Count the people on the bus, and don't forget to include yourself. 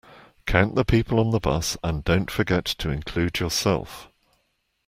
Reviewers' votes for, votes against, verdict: 2, 0, accepted